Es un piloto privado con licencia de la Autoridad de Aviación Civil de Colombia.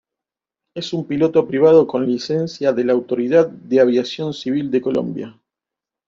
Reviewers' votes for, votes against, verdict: 3, 0, accepted